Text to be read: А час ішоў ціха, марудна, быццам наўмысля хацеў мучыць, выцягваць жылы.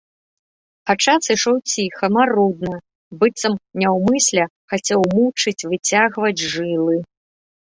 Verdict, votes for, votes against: rejected, 1, 2